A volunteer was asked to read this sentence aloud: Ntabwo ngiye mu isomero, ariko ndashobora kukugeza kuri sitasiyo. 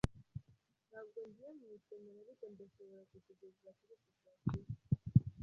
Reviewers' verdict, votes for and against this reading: rejected, 1, 2